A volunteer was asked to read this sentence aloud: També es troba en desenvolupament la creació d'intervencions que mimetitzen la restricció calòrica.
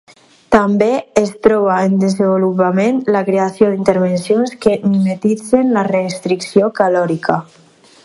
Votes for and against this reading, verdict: 0, 4, rejected